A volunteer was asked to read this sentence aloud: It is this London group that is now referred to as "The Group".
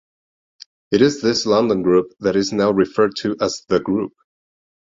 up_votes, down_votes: 2, 0